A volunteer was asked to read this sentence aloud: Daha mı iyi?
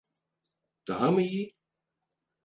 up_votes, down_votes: 4, 0